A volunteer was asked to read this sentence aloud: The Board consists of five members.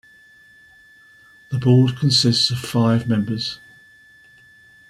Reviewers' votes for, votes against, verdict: 0, 2, rejected